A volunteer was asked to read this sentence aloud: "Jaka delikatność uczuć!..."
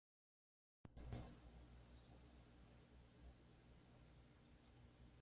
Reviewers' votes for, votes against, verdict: 0, 2, rejected